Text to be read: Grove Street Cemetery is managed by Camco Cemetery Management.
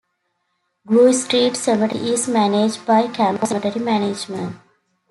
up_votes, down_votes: 2, 1